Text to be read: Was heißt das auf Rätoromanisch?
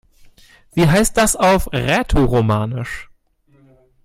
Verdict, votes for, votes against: rejected, 0, 2